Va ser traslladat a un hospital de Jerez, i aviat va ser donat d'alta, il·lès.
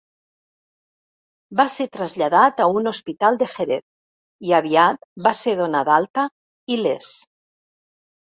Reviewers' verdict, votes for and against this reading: rejected, 1, 2